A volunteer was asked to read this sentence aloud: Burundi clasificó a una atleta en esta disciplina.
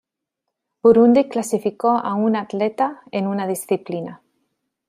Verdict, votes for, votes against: rejected, 1, 2